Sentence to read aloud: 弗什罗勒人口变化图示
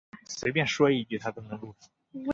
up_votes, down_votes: 0, 4